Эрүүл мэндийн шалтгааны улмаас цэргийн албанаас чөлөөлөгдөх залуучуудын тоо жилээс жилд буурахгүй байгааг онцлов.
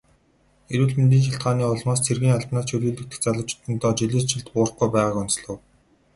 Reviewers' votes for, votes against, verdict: 2, 0, accepted